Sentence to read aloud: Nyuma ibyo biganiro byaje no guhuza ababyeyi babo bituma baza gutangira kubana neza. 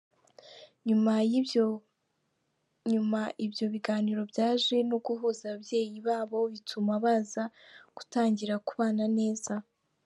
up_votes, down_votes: 1, 2